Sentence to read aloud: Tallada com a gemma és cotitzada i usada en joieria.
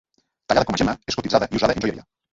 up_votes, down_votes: 0, 2